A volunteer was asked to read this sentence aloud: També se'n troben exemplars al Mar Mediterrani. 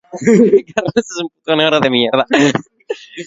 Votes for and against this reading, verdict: 0, 2, rejected